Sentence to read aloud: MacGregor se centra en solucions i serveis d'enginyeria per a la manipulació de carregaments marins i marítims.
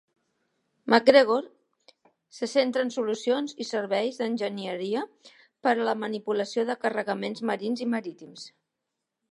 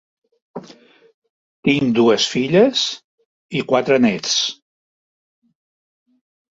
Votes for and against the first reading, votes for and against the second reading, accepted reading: 2, 1, 1, 2, first